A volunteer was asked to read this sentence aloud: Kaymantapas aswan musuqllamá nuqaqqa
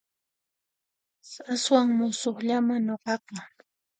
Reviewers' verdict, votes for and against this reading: rejected, 0, 2